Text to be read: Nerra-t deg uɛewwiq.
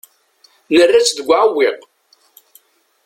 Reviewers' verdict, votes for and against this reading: rejected, 0, 2